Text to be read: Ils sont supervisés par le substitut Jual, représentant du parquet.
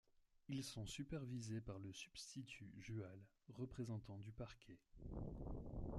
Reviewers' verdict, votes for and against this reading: accepted, 2, 0